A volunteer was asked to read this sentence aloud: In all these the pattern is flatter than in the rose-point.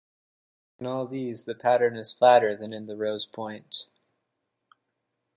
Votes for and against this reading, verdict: 2, 0, accepted